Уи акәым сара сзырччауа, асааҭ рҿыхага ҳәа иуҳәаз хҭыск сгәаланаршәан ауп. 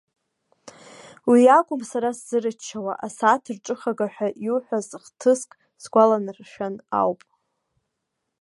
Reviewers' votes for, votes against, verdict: 2, 0, accepted